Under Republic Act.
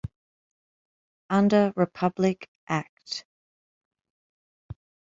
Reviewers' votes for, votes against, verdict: 2, 0, accepted